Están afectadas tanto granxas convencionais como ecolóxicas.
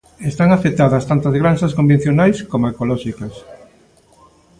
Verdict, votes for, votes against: accepted, 2, 1